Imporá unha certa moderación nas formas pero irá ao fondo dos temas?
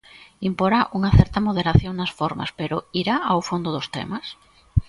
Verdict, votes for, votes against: accepted, 2, 0